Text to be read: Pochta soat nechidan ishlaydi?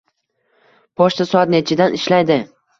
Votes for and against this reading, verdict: 2, 0, accepted